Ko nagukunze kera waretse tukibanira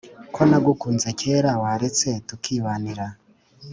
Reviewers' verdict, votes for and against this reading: accepted, 2, 0